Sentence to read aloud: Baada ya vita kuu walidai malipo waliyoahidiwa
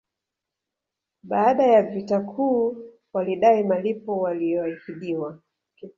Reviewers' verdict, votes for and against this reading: rejected, 0, 2